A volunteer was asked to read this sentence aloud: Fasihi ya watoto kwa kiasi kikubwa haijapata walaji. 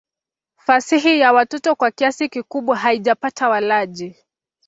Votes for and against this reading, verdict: 4, 0, accepted